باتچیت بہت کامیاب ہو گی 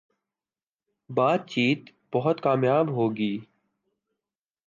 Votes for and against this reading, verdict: 2, 1, accepted